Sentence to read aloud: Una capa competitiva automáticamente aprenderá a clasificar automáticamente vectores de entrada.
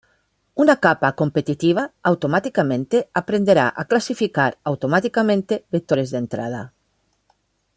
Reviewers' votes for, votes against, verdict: 2, 0, accepted